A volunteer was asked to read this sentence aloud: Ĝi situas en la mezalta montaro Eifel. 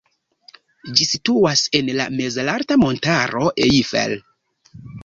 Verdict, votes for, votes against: rejected, 1, 3